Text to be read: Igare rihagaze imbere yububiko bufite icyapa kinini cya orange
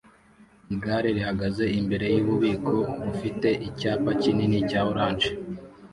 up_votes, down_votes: 2, 0